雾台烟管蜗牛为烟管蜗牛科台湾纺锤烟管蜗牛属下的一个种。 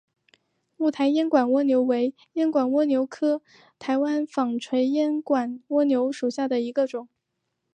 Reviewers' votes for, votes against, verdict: 2, 0, accepted